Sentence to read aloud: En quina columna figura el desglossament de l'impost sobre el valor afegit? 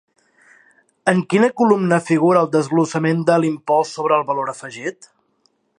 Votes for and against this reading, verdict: 2, 0, accepted